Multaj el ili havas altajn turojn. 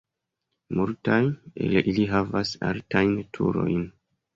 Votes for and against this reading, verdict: 3, 0, accepted